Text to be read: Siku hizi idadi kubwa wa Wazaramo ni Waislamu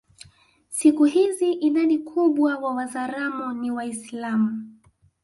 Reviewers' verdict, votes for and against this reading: accepted, 2, 1